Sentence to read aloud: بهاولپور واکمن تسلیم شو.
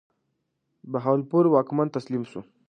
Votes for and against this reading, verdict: 1, 2, rejected